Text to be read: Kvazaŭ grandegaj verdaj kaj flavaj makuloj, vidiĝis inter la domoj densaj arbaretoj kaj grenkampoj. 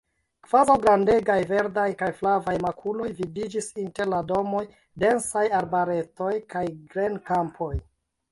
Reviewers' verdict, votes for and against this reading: rejected, 0, 2